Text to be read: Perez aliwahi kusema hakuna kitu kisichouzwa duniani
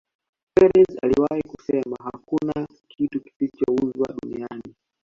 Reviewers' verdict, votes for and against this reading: accepted, 2, 0